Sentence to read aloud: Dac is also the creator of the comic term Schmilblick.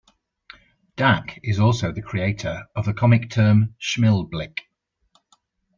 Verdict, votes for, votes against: accepted, 2, 0